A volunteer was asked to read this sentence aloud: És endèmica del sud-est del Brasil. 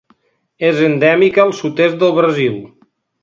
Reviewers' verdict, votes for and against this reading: rejected, 1, 2